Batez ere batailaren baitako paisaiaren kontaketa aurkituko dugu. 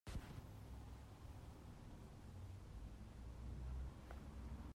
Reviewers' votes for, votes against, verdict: 0, 2, rejected